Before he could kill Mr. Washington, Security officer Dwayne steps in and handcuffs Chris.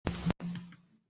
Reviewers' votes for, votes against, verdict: 0, 2, rejected